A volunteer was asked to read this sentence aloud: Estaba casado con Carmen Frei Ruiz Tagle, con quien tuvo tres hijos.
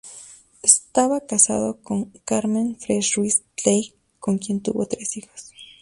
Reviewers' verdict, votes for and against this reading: rejected, 0, 2